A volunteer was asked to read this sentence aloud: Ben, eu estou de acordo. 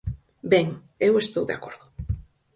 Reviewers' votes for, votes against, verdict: 4, 0, accepted